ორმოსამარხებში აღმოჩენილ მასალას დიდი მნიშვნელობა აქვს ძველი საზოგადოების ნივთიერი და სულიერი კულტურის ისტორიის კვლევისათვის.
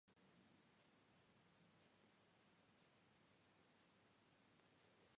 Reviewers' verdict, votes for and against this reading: rejected, 0, 2